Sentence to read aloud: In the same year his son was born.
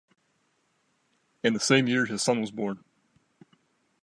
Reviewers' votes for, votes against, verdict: 2, 0, accepted